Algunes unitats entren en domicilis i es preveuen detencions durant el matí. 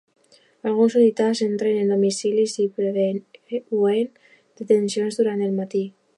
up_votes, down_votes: 0, 2